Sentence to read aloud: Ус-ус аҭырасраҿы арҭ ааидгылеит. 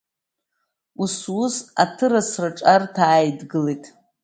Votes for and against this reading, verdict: 2, 0, accepted